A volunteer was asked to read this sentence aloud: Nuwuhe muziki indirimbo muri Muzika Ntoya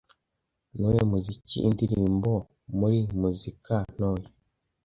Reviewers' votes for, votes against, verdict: 2, 0, accepted